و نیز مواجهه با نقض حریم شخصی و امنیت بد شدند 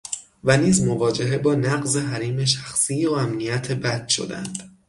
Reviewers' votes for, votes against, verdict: 6, 0, accepted